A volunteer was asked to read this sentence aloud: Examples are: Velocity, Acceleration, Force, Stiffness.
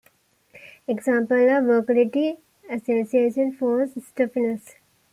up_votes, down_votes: 0, 2